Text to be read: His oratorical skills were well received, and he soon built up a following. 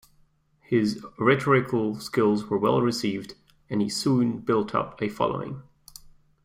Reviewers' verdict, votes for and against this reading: rejected, 0, 2